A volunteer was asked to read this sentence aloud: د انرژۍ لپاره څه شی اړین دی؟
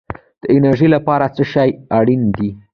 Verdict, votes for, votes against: rejected, 0, 2